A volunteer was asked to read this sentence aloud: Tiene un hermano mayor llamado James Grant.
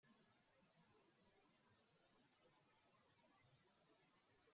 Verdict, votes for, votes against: rejected, 1, 2